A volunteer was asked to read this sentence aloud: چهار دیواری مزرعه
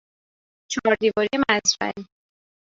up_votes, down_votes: 2, 3